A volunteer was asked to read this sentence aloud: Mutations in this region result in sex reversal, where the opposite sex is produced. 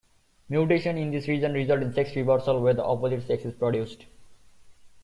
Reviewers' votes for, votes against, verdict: 1, 2, rejected